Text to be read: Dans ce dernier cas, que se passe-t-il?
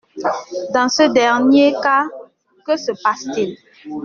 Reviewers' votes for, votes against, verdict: 2, 0, accepted